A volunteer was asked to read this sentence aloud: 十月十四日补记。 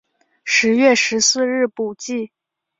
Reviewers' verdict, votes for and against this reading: accepted, 3, 0